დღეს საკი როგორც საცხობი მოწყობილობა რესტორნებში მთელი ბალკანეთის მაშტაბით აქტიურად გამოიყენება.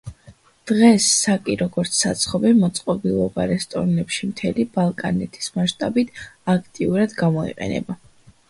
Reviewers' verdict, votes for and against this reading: accepted, 2, 0